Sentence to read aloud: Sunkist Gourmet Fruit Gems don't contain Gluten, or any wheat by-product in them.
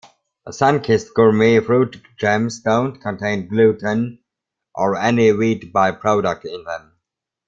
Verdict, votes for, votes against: accepted, 2, 1